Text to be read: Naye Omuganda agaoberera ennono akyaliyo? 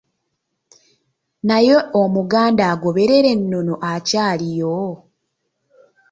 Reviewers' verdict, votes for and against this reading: accepted, 2, 0